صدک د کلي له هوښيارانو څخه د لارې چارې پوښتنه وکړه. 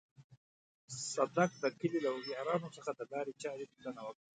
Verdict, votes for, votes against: accepted, 2, 0